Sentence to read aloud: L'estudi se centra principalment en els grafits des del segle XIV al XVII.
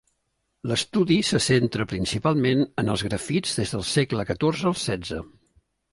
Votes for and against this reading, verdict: 1, 2, rejected